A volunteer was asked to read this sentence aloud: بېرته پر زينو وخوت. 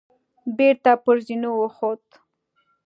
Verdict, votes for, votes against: accepted, 2, 0